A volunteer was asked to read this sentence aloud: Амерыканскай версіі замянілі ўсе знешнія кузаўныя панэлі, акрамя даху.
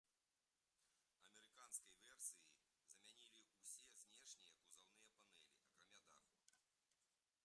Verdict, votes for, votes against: rejected, 0, 2